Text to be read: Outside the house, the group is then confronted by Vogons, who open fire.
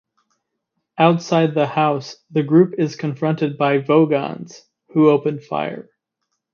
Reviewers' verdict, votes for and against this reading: rejected, 0, 2